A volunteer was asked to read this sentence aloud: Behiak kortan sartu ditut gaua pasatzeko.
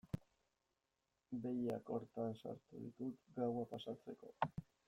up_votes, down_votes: 1, 2